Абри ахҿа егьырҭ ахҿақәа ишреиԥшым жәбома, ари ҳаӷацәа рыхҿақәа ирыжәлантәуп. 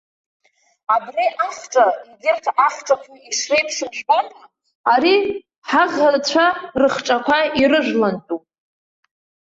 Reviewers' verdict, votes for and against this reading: rejected, 0, 2